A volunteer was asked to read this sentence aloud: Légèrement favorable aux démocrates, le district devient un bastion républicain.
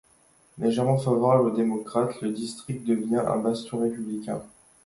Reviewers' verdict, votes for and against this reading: accepted, 2, 0